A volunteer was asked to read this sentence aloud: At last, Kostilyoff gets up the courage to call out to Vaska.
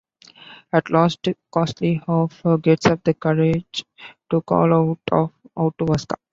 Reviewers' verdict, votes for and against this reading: rejected, 0, 2